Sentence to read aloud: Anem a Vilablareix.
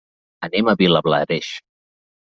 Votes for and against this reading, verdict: 2, 0, accepted